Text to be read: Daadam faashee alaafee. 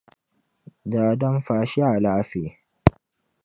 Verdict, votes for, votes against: accepted, 2, 0